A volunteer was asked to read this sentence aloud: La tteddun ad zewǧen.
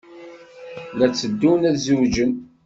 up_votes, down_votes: 2, 0